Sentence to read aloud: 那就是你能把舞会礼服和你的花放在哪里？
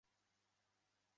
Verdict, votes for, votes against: rejected, 0, 3